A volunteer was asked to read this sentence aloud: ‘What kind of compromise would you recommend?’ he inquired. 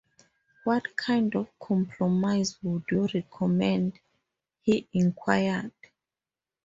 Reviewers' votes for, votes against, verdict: 4, 0, accepted